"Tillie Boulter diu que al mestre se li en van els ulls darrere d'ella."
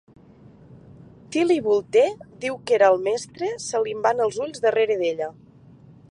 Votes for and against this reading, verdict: 2, 3, rejected